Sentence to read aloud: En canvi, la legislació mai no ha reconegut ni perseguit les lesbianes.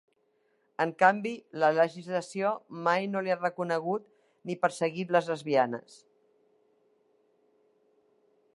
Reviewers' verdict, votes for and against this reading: rejected, 1, 2